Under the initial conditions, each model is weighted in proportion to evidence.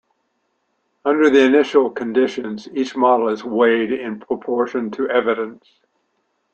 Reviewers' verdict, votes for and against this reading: rejected, 1, 2